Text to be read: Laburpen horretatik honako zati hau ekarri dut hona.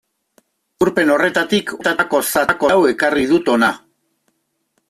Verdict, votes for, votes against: rejected, 1, 2